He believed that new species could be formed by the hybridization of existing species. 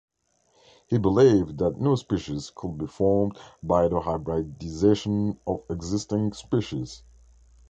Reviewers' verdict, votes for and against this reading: rejected, 1, 2